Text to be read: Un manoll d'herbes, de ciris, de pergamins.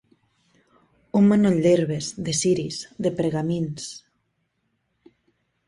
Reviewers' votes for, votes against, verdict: 2, 0, accepted